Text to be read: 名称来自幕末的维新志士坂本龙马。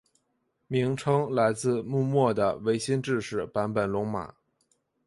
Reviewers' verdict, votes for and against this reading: accepted, 2, 1